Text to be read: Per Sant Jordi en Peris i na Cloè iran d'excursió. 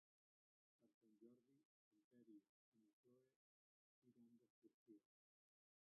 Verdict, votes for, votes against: rejected, 0, 3